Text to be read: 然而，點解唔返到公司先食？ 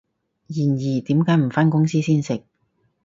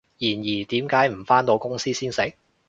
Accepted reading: second